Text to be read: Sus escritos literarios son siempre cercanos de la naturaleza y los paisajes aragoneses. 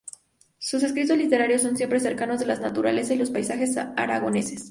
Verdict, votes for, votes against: accepted, 4, 0